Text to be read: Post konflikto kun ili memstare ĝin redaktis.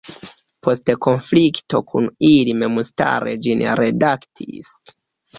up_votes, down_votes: 1, 2